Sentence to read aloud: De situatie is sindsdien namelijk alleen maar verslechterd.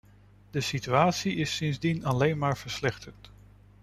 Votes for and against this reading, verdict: 0, 2, rejected